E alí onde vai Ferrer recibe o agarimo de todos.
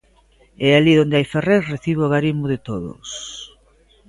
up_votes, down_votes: 0, 2